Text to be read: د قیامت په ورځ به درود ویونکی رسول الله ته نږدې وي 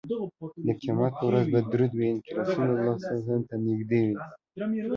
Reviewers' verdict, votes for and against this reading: accepted, 2, 0